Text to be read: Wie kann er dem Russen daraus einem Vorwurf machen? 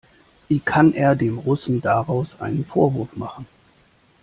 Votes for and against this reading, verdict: 2, 1, accepted